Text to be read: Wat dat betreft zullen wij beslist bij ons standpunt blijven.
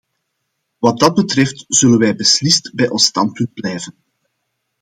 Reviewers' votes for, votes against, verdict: 2, 0, accepted